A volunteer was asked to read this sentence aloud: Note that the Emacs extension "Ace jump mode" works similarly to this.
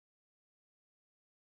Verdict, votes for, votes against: rejected, 0, 2